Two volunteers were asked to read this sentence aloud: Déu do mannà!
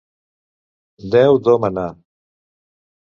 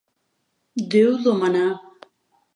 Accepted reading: second